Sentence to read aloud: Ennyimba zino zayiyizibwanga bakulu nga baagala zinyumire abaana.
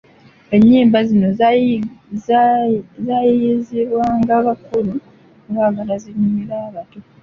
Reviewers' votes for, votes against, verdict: 0, 2, rejected